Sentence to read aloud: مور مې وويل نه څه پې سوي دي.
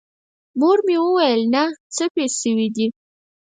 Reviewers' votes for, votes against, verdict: 0, 4, rejected